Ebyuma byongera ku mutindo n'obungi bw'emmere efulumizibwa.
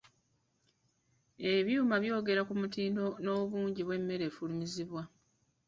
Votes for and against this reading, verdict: 1, 2, rejected